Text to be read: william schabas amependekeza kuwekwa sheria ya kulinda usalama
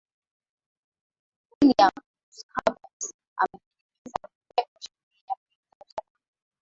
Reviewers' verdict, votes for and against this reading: accepted, 2, 0